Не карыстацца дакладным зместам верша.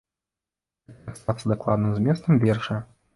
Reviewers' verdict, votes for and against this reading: rejected, 1, 2